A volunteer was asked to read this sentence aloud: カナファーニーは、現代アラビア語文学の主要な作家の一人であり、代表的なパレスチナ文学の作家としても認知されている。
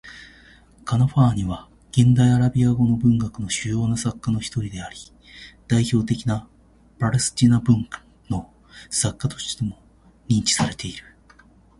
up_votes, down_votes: 1, 2